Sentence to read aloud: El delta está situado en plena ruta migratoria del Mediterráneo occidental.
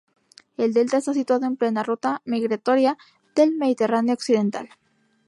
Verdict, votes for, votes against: accepted, 2, 0